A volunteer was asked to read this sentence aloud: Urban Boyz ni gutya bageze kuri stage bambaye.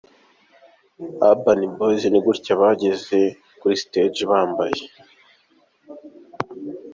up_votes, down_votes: 2, 0